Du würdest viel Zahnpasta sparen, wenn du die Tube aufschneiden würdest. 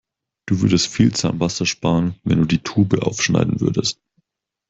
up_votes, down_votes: 4, 0